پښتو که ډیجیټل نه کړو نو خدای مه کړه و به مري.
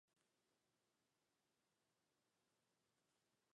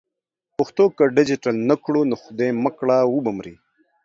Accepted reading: second